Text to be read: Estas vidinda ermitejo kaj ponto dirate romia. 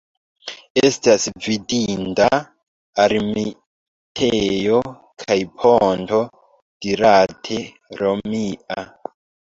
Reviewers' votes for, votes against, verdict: 2, 1, accepted